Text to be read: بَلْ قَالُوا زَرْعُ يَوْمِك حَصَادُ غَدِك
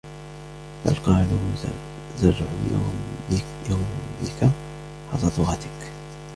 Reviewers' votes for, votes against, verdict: 2, 1, accepted